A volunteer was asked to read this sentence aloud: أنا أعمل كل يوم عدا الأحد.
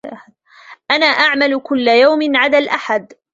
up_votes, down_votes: 2, 0